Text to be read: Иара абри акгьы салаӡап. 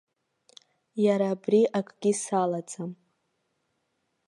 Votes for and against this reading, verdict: 1, 2, rejected